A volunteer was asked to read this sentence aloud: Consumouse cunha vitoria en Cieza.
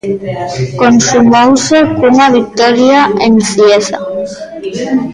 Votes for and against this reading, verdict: 0, 2, rejected